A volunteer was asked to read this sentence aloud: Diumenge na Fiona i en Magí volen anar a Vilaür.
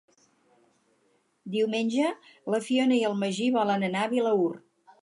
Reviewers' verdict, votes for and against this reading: accepted, 4, 0